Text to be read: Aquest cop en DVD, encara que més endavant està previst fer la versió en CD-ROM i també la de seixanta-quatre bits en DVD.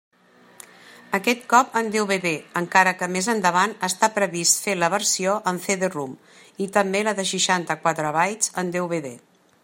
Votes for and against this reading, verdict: 0, 2, rejected